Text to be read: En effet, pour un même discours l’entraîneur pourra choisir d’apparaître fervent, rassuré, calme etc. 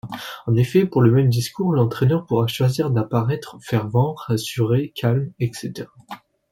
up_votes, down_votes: 0, 2